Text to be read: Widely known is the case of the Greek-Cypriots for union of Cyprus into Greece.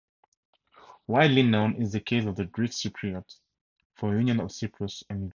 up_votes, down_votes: 0, 2